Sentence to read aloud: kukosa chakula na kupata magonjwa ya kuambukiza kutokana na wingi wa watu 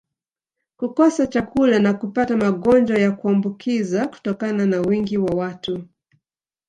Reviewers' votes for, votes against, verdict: 3, 1, accepted